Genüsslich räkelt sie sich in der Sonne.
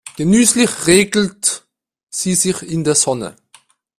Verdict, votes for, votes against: rejected, 1, 2